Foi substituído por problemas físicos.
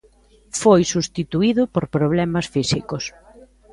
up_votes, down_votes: 1, 2